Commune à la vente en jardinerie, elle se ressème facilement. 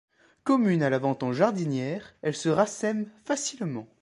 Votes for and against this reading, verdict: 1, 3, rejected